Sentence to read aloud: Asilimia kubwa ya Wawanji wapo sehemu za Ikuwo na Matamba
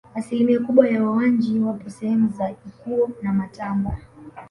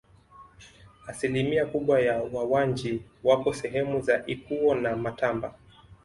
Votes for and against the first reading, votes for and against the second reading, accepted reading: 1, 2, 2, 0, second